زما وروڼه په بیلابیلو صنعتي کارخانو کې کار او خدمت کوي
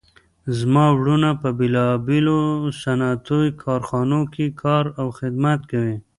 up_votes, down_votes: 1, 2